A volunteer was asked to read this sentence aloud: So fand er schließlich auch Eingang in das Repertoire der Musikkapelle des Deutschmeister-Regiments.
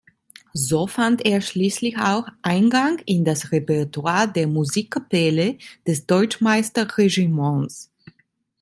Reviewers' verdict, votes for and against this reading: rejected, 0, 2